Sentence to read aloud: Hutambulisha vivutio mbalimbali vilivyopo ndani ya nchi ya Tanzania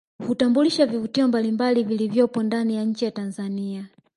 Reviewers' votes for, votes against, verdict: 3, 1, accepted